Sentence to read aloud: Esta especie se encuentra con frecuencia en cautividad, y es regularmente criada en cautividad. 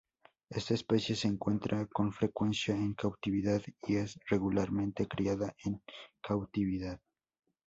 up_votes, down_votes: 2, 2